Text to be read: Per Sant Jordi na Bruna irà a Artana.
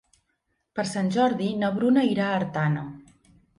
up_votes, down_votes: 2, 0